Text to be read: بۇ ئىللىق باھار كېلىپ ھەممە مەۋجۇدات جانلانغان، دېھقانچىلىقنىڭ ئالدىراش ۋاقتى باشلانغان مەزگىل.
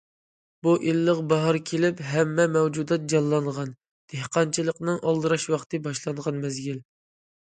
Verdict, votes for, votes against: accepted, 2, 0